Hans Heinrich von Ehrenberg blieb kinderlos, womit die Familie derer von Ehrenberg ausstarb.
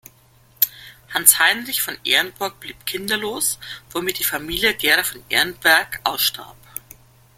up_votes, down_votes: 0, 2